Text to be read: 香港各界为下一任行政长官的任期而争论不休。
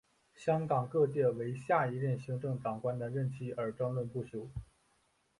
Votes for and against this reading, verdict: 2, 0, accepted